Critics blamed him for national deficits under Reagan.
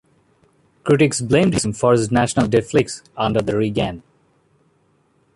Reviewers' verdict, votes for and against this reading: rejected, 0, 2